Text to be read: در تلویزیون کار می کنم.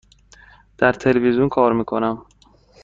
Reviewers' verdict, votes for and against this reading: accepted, 2, 0